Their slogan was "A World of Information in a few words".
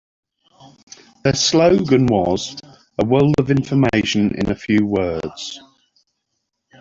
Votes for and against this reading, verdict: 2, 0, accepted